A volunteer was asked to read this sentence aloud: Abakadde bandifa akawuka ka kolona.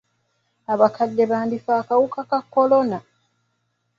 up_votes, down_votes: 2, 0